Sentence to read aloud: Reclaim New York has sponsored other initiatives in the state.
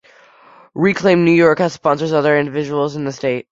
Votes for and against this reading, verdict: 1, 2, rejected